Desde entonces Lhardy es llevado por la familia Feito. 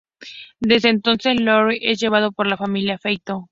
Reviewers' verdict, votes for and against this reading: rejected, 0, 2